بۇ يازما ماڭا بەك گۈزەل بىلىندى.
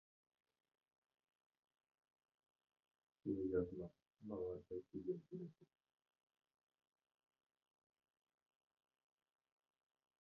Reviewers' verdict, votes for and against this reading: rejected, 0, 2